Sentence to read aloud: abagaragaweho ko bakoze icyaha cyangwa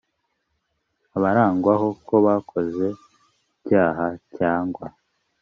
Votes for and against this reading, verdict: 0, 2, rejected